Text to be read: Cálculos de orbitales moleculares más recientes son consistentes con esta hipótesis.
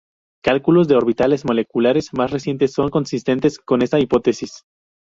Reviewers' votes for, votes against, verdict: 2, 0, accepted